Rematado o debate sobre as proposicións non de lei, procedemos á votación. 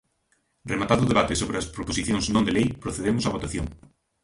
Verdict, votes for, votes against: rejected, 1, 2